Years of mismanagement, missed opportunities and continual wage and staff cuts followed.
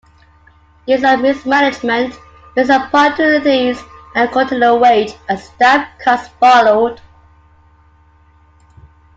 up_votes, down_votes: 0, 2